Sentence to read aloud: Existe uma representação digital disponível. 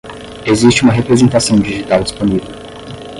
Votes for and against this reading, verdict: 5, 5, rejected